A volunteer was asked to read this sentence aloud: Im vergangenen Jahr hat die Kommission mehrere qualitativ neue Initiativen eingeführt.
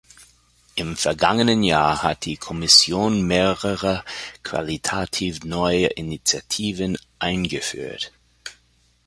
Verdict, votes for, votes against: accepted, 2, 0